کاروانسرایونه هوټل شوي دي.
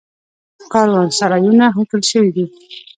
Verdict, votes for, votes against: accepted, 2, 0